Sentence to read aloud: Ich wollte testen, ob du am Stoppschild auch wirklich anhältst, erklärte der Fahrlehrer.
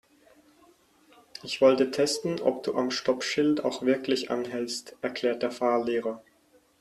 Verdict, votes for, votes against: rejected, 2, 4